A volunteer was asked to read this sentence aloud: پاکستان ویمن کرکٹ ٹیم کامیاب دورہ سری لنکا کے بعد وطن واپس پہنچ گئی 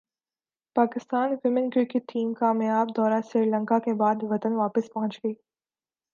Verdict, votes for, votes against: accepted, 2, 0